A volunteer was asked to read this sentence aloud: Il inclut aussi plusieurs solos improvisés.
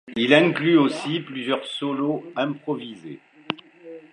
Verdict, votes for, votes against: accepted, 2, 0